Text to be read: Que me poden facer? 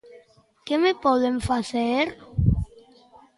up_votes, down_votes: 2, 0